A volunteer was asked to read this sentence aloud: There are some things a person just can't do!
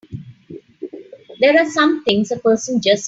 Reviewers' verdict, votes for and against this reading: rejected, 0, 3